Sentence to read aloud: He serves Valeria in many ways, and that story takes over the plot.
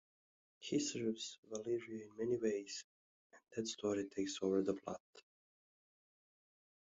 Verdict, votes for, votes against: accepted, 2, 0